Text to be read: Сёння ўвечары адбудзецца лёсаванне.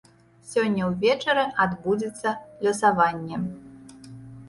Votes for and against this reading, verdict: 2, 0, accepted